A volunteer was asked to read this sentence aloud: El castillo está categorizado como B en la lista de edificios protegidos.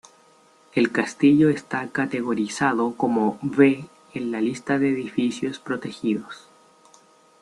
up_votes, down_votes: 0, 2